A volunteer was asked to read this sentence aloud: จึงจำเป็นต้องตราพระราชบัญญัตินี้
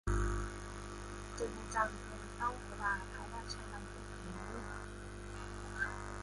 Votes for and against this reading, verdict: 0, 2, rejected